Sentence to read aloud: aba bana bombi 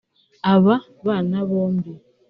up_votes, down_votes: 1, 2